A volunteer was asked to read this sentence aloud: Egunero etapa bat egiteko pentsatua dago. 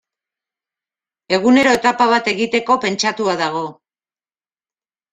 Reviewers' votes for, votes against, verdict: 3, 0, accepted